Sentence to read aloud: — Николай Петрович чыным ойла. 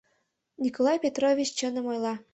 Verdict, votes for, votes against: accepted, 2, 0